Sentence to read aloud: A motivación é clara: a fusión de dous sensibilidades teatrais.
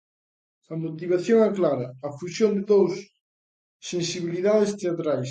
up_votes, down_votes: 2, 0